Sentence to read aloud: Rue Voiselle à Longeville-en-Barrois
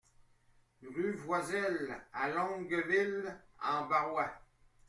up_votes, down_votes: 1, 2